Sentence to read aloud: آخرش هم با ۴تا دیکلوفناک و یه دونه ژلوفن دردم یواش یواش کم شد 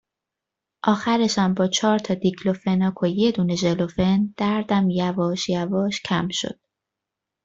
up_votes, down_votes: 0, 2